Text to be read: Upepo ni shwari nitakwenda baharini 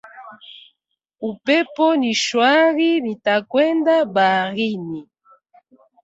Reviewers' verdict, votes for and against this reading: accepted, 2, 0